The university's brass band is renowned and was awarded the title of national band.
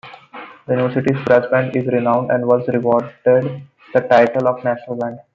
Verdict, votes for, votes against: rejected, 0, 2